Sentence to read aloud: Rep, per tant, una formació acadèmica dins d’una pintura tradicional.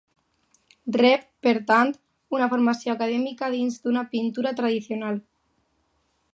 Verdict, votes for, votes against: rejected, 0, 2